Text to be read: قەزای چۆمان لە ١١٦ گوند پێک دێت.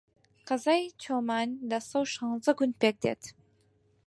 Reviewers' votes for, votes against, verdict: 0, 2, rejected